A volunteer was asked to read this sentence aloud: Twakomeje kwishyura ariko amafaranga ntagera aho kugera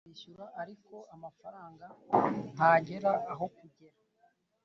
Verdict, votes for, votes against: rejected, 1, 2